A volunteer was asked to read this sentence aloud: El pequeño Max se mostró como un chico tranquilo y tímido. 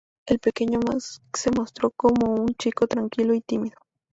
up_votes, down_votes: 0, 2